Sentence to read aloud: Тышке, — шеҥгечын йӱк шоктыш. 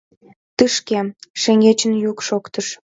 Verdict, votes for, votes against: accepted, 2, 0